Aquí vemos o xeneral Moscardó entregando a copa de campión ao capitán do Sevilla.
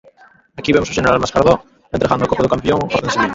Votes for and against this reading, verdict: 0, 2, rejected